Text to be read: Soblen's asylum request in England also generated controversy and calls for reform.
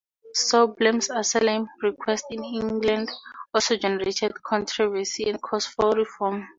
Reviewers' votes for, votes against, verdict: 6, 2, accepted